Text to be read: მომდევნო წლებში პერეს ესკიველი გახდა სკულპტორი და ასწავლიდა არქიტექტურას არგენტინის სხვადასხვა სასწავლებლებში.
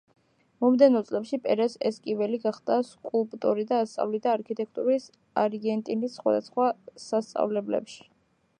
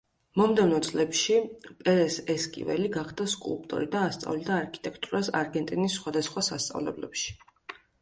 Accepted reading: second